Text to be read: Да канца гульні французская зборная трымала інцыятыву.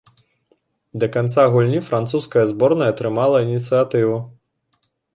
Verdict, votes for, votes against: accepted, 2, 0